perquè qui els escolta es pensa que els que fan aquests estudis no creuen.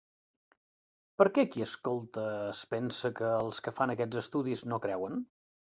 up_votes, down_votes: 0, 2